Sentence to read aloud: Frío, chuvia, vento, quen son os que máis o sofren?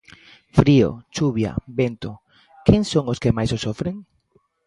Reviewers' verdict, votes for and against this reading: accepted, 2, 0